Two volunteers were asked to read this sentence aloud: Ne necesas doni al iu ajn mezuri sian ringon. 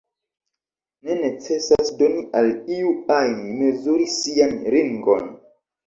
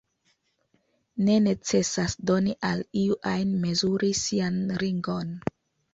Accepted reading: second